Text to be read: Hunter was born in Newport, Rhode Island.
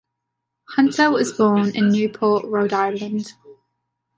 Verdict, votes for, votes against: accepted, 2, 1